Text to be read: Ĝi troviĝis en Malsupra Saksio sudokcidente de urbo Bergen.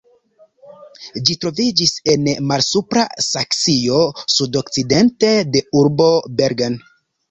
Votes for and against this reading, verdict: 1, 2, rejected